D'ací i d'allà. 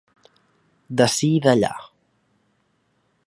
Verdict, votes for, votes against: accepted, 2, 0